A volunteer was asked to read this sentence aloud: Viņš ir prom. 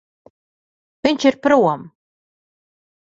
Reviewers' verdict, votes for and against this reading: accepted, 2, 0